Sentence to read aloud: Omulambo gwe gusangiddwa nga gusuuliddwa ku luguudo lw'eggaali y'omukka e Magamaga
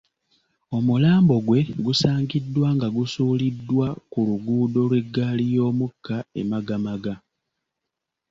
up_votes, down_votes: 2, 0